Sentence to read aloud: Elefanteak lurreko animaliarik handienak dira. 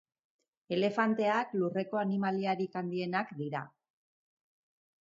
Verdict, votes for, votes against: rejected, 2, 2